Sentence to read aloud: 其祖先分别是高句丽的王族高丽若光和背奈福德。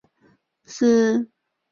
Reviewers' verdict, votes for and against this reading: rejected, 0, 2